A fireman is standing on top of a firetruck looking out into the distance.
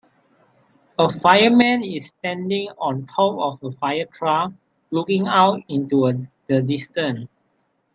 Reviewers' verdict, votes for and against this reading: rejected, 0, 3